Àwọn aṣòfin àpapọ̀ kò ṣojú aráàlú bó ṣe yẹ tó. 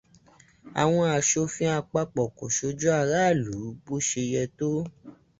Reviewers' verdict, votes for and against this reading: rejected, 0, 2